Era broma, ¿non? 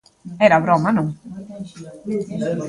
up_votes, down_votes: 0, 2